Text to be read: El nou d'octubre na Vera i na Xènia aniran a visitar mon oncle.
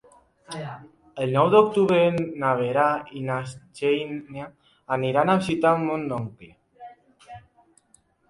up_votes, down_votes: 1, 2